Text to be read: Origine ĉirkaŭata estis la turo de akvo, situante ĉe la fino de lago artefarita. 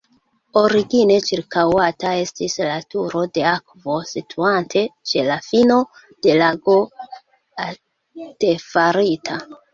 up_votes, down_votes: 1, 2